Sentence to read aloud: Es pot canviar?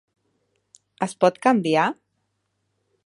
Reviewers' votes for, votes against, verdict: 3, 0, accepted